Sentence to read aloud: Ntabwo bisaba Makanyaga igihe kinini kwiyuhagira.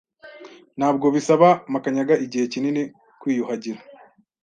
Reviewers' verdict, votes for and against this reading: accepted, 2, 0